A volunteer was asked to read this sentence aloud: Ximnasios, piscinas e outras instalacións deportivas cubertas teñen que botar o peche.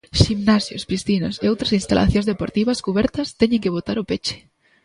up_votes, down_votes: 2, 0